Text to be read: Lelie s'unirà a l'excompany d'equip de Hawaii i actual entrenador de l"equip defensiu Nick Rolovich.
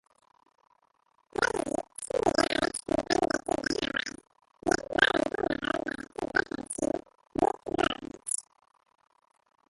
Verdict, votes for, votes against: rejected, 0, 2